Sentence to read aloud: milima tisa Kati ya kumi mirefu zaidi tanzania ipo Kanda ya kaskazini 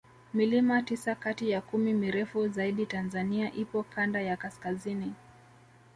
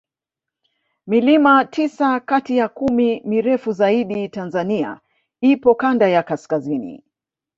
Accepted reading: first